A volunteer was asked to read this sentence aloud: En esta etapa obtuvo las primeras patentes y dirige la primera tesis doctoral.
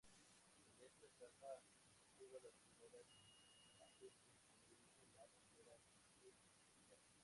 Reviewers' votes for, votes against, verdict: 0, 2, rejected